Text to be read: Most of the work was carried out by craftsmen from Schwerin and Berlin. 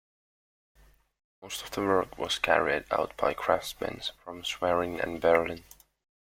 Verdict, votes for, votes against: accepted, 2, 0